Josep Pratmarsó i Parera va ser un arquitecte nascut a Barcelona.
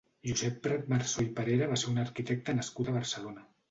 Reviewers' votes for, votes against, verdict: 2, 0, accepted